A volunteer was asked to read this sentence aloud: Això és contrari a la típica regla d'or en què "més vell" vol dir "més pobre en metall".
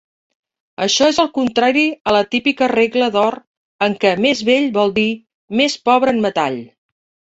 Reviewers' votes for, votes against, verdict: 1, 2, rejected